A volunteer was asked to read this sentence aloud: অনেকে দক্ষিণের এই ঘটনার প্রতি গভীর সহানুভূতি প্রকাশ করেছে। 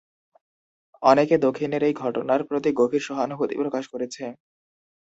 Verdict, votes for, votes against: accepted, 2, 0